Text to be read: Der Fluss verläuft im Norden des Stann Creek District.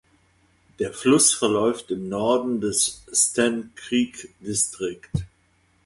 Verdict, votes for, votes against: accepted, 2, 0